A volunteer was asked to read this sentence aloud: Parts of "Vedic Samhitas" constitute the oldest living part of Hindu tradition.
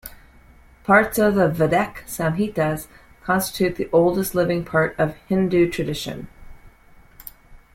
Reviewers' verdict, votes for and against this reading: accepted, 2, 0